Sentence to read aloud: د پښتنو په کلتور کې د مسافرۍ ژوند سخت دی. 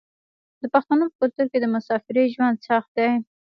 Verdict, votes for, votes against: rejected, 2, 3